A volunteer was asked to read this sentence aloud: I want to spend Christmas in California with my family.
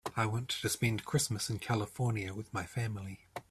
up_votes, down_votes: 2, 0